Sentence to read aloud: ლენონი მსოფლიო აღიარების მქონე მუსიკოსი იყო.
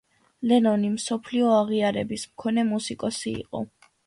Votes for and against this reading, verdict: 2, 0, accepted